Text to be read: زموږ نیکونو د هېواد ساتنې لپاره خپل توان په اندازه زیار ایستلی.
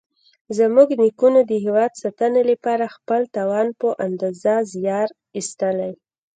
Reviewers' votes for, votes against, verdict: 0, 2, rejected